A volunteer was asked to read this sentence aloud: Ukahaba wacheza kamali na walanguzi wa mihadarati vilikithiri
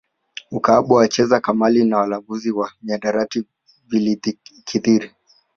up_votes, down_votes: 2, 1